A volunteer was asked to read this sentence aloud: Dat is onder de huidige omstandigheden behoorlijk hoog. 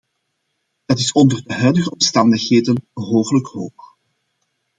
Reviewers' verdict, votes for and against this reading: accepted, 2, 1